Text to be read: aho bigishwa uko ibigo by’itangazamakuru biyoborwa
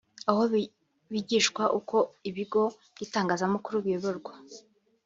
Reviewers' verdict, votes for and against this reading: rejected, 1, 2